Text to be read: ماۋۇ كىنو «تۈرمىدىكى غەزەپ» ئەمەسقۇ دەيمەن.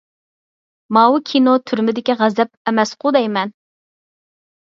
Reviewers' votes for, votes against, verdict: 4, 0, accepted